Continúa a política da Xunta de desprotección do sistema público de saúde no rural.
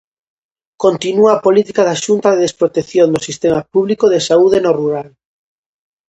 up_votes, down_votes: 2, 0